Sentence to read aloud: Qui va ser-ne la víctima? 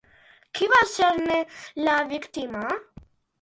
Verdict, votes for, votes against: accepted, 2, 0